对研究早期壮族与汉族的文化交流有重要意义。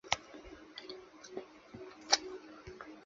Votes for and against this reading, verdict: 0, 2, rejected